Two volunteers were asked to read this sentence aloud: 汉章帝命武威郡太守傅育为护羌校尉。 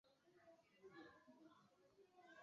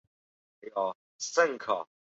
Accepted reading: second